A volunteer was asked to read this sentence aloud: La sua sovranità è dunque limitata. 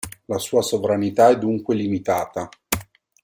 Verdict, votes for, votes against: accepted, 2, 0